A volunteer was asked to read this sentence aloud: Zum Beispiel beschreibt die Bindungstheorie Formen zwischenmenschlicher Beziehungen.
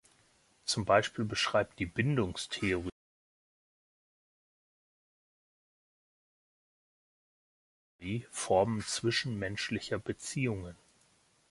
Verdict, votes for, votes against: rejected, 1, 2